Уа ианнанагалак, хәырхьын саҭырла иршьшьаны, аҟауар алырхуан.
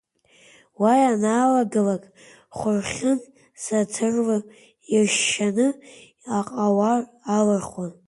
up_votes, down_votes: 1, 2